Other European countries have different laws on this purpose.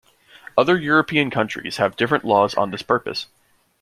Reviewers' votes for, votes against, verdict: 2, 0, accepted